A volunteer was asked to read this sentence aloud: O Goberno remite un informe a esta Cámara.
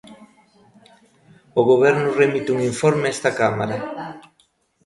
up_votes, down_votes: 0, 2